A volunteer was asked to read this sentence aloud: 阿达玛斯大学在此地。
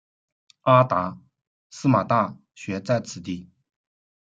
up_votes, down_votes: 0, 2